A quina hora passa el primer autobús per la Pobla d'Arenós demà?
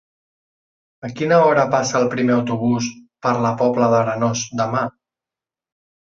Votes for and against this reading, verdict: 3, 0, accepted